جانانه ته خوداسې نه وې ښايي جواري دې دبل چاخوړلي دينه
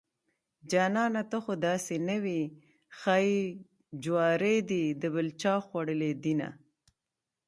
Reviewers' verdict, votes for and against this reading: accepted, 2, 0